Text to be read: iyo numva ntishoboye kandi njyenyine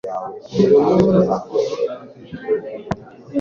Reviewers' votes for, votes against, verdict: 1, 2, rejected